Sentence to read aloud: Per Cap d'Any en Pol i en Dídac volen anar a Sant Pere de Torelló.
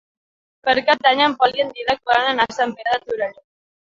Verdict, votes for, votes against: rejected, 1, 2